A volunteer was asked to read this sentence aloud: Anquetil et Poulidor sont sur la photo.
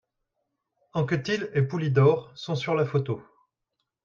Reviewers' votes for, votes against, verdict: 2, 0, accepted